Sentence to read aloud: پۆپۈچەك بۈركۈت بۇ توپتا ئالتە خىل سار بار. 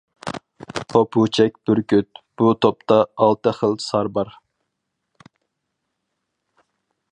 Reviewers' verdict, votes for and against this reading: rejected, 2, 2